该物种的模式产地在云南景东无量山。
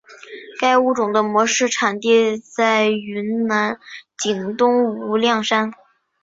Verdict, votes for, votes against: accepted, 2, 0